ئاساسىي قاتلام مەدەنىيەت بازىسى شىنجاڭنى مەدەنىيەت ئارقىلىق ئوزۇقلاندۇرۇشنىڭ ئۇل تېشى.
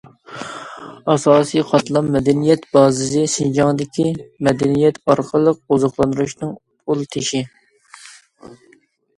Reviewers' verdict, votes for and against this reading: rejected, 1, 2